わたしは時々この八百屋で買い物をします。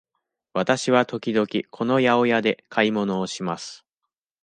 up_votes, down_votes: 2, 0